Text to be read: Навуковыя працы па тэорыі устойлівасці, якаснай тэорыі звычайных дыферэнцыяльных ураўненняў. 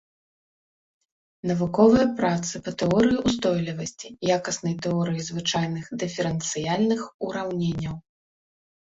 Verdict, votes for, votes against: accepted, 2, 0